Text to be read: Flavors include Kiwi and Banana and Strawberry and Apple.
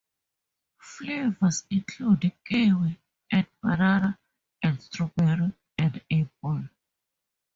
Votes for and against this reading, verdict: 2, 0, accepted